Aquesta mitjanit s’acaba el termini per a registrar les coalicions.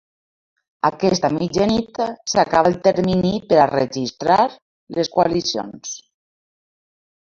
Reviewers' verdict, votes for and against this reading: accepted, 2, 1